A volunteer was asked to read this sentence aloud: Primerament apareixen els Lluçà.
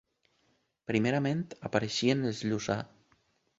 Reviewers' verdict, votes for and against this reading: rejected, 1, 2